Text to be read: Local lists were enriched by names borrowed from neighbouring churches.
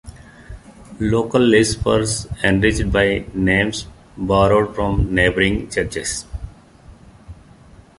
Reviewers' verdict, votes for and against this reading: accepted, 2, 0